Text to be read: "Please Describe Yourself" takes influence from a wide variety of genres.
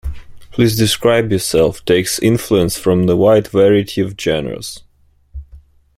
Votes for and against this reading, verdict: 0, 2, rejected